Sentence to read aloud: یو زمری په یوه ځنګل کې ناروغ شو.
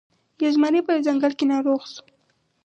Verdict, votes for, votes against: rejected, 0, 2